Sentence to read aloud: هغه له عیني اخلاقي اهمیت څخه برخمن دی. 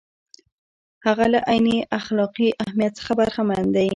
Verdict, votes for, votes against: accepted, 2, 0